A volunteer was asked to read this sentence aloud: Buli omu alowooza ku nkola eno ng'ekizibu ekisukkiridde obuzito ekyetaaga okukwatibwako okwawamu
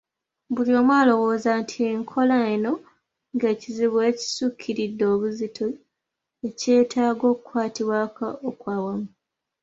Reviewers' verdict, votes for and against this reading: rejected, 1, 2